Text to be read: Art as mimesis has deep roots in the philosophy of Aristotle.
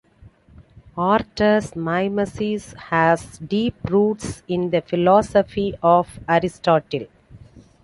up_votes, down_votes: 1, 2